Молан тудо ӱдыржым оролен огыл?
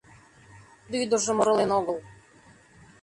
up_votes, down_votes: 0, 2